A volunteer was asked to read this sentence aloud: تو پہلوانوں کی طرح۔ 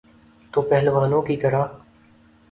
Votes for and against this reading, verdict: 5, 0, accepted